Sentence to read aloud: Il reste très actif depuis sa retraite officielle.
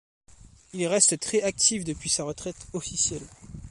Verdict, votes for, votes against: accepted, 2, 0